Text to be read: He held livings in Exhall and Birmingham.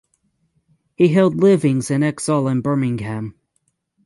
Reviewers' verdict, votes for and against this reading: accepted, 6, 0